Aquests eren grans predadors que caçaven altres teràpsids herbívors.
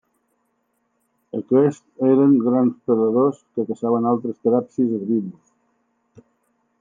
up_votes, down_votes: 2, 0